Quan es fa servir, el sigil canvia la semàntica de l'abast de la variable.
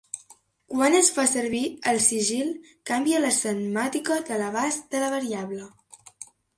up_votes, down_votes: 0, 3